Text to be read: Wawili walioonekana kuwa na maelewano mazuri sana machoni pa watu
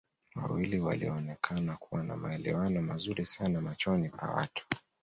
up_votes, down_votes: 0, 2